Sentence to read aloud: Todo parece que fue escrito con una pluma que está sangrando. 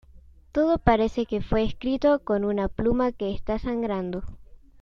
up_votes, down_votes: 2, 0